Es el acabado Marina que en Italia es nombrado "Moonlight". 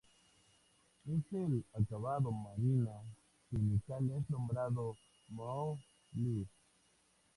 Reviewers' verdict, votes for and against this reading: rejected, 0, 2